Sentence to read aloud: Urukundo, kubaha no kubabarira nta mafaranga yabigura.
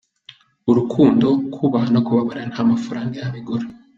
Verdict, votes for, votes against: accepted, 2, 1